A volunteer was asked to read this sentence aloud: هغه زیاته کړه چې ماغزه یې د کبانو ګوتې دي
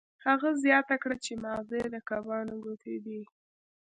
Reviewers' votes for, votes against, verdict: 2, 0, accepted